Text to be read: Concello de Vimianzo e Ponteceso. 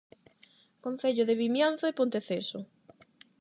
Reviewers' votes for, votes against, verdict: 8, 0, accepted